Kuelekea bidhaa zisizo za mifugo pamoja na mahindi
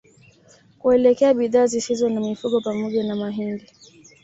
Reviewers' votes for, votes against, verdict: 1, 2, rejected